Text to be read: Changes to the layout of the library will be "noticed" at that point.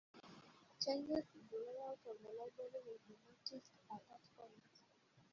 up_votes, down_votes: 1, 2